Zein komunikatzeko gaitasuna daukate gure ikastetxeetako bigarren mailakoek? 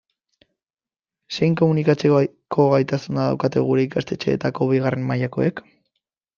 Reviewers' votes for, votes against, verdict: 0, 2, rejected